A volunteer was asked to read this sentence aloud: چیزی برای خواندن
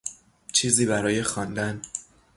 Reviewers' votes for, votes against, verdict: 3, 0, accepted